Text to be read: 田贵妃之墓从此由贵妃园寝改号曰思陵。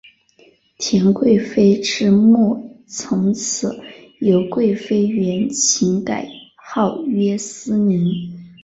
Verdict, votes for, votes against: accepted, 2, 1